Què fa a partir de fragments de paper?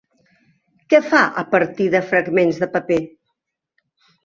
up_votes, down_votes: 3, 0